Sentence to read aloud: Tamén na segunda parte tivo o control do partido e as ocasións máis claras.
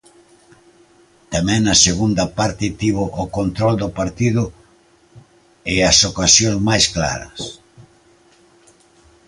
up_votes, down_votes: 2, 0